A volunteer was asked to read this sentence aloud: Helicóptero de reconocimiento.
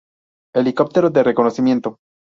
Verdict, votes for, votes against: accepted, 2, 0